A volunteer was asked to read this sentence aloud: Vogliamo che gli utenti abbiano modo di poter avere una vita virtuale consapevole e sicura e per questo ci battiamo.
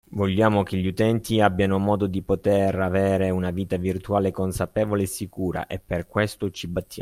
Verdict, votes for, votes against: accepted, 2, 0